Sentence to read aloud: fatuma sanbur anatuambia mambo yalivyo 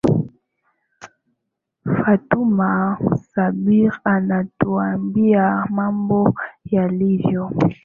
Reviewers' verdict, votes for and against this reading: rejected, 0, 2